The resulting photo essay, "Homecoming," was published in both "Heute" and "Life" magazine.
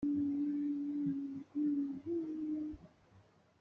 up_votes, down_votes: 1, 2